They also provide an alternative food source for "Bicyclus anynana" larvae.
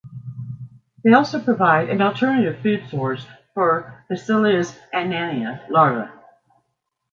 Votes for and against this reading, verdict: 1, 2, rejected